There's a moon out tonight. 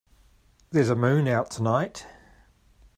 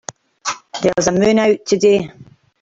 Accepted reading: first